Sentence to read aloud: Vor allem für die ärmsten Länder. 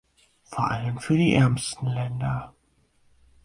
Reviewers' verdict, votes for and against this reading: accepted, 4, 0